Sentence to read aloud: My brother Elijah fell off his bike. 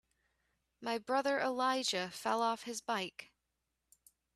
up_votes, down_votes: 2, 0